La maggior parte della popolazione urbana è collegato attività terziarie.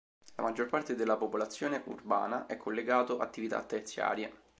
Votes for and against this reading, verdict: 2, 0, accepted